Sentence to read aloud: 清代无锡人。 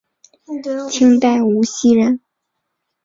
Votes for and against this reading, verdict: 4, 0, accepted